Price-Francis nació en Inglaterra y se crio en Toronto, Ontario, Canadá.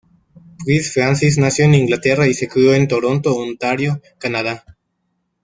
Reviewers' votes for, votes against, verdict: 1, 2, rejected